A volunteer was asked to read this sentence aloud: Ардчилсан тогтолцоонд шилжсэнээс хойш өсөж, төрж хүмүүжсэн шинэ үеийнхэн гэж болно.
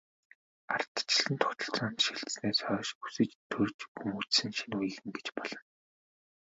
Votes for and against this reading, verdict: 1, 2, rejected